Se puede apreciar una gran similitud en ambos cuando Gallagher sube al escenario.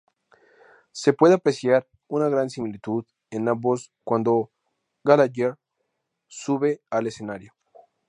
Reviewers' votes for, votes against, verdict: 4, 0, accepted